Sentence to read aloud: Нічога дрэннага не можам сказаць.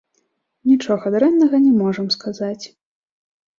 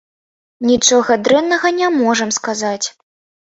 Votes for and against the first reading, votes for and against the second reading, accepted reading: 2, 1, 1, 2, first